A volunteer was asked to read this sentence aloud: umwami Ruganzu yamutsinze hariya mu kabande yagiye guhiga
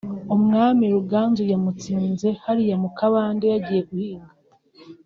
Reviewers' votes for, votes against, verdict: 2, 0, accepted